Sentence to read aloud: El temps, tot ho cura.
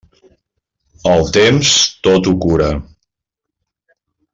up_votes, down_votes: 2, 0